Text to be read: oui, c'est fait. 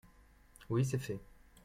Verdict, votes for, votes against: accepted, 2, 0